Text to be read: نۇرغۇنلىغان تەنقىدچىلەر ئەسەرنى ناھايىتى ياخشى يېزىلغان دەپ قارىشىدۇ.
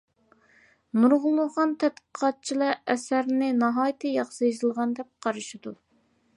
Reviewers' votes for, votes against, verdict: 2, 1, accepted